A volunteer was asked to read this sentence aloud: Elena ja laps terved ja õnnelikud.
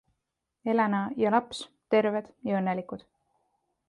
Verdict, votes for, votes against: accepted, 2, 0